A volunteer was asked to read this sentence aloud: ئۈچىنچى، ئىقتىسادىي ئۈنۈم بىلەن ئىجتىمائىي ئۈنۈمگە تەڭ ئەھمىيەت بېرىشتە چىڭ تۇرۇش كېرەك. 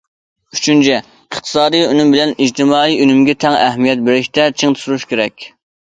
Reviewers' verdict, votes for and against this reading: accepted, 2, 1